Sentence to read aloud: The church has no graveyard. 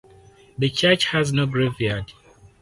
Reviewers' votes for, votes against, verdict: 4, 0, accepted